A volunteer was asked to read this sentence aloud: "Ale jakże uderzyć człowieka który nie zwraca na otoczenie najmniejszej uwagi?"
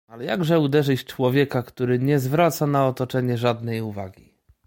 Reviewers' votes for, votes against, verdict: 0, 2, rejected